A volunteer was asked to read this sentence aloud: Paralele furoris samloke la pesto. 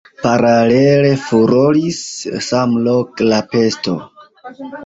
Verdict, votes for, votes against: rejected, 1, 2